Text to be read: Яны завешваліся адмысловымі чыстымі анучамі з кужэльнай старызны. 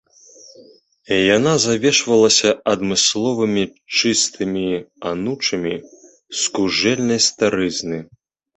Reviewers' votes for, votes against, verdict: 0, 2, rejected